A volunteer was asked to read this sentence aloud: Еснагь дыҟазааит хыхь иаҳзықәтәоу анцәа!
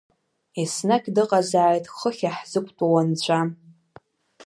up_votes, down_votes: 1, 2